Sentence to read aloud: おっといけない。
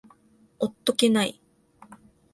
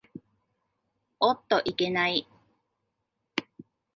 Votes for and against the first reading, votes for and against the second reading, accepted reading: 0, 2, 2, 0, second